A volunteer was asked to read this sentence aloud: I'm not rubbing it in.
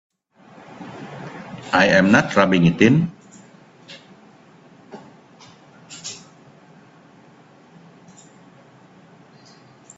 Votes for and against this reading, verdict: 3, 0, accepted